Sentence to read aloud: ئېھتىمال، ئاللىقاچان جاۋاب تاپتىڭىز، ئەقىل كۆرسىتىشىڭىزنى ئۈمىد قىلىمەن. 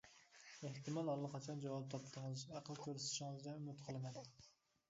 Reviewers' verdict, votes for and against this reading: rejected, 1, 2